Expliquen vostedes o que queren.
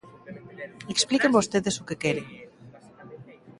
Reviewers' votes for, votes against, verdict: 2, 1, accepted